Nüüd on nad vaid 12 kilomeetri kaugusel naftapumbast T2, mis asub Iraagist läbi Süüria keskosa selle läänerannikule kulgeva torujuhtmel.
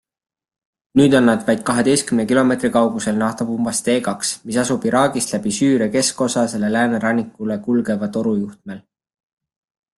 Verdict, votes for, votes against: rejected, 0, 2